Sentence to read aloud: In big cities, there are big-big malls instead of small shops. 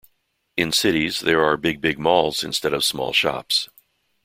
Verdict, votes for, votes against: rejected, 0, 2